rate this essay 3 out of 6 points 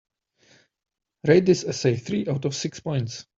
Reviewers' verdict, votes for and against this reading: rejected, 0, 2